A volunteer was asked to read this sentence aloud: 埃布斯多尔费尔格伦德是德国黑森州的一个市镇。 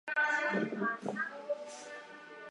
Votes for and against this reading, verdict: 1, 3, rejected